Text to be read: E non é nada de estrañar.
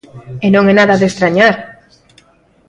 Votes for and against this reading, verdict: 2, 0, accepted